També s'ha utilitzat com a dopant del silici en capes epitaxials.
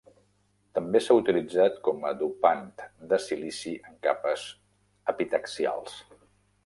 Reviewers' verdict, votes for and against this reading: rejected, 0, 2